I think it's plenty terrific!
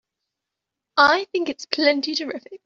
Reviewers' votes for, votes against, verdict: 2, 0, accepted